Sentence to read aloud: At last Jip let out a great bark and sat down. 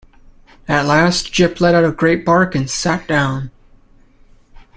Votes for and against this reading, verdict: 2, 0, accepted